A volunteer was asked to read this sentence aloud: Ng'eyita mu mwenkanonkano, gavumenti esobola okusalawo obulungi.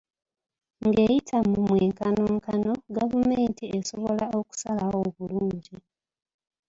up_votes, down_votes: 2, 3